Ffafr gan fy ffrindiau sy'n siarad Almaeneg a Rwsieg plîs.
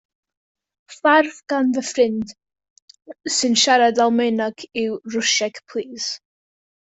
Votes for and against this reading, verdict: 0, 2, rejected